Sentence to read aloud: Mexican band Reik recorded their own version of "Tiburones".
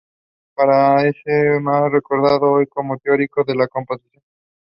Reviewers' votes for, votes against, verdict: 0, 2, rejected